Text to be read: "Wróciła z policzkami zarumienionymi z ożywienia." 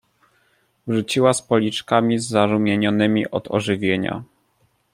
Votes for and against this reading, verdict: 1, 2, rejected